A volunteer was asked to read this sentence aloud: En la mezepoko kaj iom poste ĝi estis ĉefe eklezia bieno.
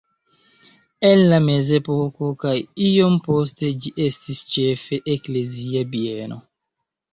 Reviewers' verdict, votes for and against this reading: rejected, 1, 2